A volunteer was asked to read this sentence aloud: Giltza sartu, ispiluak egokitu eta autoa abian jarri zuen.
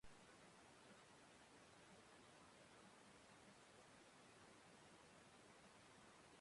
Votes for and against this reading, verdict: 0, 2, rejected